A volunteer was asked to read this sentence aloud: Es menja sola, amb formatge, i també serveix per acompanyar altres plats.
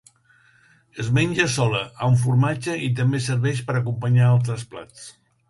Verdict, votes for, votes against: accepted, 2, 0